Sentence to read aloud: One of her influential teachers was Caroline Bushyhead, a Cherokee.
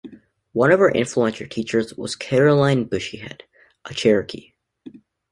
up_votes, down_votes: 1, 2